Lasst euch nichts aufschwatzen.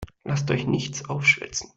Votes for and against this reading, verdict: 0, 2, rejected